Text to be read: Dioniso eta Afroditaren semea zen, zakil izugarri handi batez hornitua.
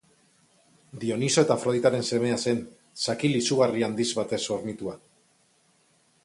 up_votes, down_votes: 2, 4